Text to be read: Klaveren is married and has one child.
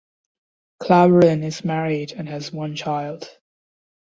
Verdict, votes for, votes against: accepted, 2, 0